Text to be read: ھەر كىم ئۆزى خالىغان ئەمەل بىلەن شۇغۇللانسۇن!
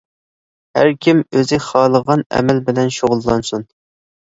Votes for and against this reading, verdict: 2, 0, accepted